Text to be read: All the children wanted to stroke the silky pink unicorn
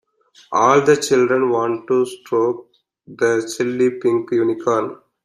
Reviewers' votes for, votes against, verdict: 1, 2, rejected